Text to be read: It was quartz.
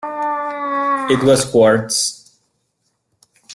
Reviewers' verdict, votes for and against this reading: accepted, 2, 1